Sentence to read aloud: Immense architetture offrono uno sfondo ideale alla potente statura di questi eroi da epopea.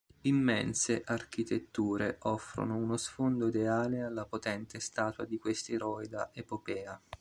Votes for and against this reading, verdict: 0, 2, rejected